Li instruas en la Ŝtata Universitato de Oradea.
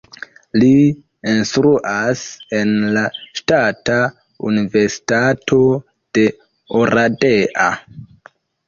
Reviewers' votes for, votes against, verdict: 0, 2, rejected